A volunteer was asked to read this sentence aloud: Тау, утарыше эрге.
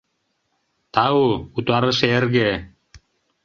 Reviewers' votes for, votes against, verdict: 2, 0, accepted